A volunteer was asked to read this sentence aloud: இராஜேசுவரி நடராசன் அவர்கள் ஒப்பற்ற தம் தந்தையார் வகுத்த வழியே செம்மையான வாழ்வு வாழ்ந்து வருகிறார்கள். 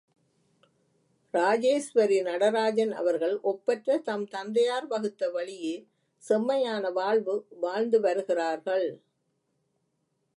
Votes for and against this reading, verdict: 1, 2, rejected